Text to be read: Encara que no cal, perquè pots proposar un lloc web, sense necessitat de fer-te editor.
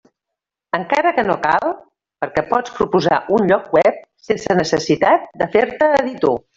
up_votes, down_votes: 1, 2